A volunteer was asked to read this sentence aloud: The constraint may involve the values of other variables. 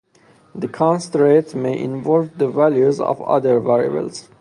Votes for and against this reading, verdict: 0, 2, rejected